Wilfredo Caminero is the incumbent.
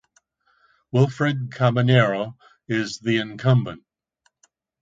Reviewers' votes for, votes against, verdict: 0, 2, rejected